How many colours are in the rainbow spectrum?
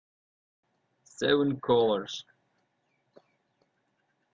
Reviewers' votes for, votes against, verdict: 0, 2, rejected